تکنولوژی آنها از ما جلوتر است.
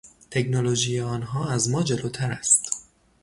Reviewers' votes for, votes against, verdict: 3, 0, accepted